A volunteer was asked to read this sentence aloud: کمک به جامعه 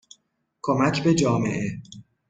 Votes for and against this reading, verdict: 2, 0, accepted